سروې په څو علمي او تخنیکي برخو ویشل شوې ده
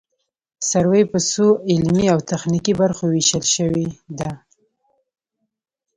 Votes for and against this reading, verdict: 2, 0, accepted